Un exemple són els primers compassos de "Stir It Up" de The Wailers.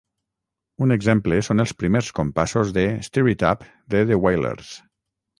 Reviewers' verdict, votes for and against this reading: rejected, 3, 3